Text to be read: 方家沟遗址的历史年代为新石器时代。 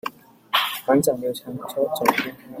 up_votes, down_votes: 1, 2